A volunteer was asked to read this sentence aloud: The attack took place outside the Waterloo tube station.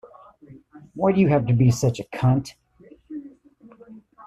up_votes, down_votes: 0, 2